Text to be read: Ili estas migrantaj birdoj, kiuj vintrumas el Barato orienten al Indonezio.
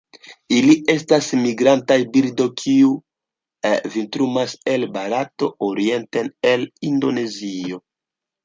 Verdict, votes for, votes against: rejected, 1, 2